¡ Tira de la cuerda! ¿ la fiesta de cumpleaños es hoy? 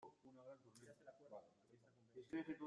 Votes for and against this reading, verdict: 0, 2, rejected